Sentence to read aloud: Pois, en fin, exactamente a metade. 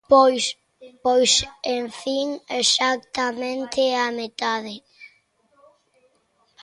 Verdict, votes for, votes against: rejected, 0, 2